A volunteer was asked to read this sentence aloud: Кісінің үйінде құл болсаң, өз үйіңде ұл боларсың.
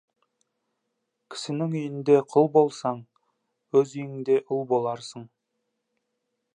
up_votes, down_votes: 2, 0